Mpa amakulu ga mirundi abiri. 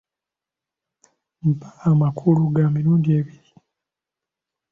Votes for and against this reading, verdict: 0, 2, rejected